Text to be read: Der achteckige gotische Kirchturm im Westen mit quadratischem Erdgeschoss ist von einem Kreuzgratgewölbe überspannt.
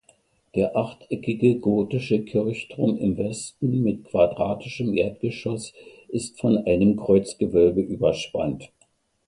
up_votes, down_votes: 1, 2